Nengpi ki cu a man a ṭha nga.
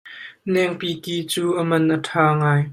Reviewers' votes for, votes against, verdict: 1, 2, rejected